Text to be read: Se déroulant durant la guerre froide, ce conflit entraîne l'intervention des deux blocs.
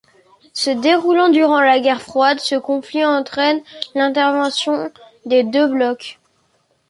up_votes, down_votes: 2, 1